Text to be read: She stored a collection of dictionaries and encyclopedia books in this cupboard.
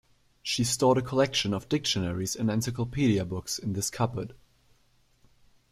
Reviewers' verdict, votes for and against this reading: accepted, 2, 0